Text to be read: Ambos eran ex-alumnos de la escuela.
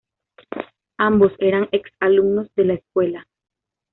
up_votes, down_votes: 2, 1